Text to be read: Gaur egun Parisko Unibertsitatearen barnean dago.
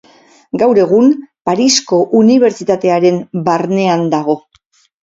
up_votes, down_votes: 6, 0